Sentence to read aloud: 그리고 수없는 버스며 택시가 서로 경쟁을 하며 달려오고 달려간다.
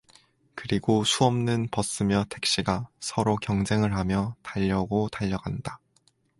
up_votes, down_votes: 4, 2